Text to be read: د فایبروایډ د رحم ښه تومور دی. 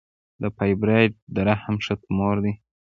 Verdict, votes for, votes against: accepted, 2, 0